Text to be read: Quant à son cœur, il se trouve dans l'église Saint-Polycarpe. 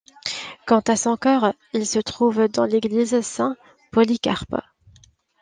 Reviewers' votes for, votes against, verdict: 2, 0, accepted